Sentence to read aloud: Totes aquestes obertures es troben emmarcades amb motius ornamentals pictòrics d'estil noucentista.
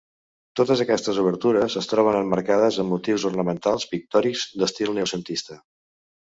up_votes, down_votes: 0, 2